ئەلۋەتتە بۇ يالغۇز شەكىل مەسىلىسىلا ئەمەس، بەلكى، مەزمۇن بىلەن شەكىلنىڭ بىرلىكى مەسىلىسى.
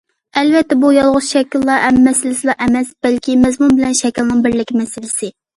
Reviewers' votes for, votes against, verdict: 0, 2, rejected